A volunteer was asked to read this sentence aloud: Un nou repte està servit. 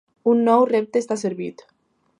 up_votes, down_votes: 2, 0